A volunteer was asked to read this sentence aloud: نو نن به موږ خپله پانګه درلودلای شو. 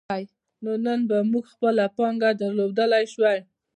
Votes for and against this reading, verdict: 2, 0, accepted